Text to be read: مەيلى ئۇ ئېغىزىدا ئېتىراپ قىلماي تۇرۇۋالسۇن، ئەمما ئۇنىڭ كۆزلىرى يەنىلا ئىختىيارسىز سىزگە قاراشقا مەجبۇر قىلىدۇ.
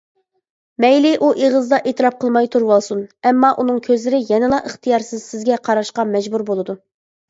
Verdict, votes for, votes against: rejected, 1, 2